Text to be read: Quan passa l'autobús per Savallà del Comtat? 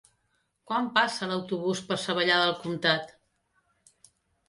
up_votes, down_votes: 3, 0